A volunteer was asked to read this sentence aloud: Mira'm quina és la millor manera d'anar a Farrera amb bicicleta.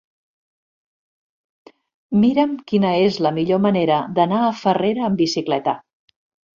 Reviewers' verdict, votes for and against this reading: accepted, 2, 0